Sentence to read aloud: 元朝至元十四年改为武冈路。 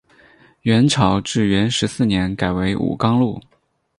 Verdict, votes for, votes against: accepted, 4, 0